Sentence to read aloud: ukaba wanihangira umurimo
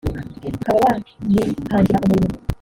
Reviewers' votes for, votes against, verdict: 1, 3, rejected